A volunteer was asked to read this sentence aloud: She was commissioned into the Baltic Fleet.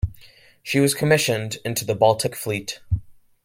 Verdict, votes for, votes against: accepted, 3, 2